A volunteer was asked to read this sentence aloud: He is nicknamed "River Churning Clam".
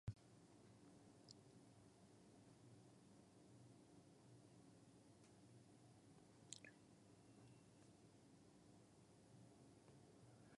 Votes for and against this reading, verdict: 0, 2, rejected